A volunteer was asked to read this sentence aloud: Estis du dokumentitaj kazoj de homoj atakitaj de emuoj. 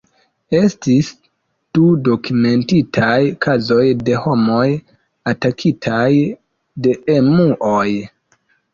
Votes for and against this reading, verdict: 1, 2, rejected